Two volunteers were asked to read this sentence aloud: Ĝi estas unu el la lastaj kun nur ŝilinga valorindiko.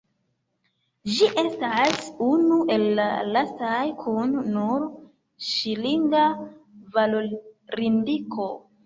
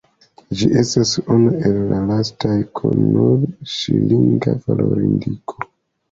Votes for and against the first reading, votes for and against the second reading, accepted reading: 1, 2, 3, 0, second